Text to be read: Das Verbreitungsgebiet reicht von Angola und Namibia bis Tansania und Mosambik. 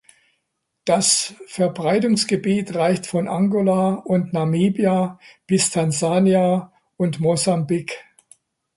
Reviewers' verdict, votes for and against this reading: accepted, 2, 1